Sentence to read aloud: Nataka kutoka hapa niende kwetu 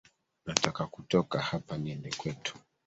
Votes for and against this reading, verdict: 2, 1, accepted